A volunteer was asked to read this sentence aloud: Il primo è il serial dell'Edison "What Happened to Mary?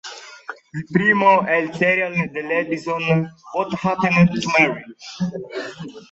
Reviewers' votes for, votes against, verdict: 1, 2, rejected